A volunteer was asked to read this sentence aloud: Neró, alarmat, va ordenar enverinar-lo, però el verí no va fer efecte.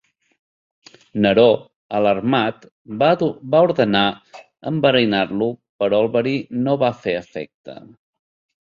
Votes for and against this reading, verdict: 1, 2, rejected